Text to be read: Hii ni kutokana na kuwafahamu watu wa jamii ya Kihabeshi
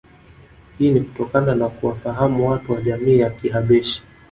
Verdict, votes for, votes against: rejected, 0, 2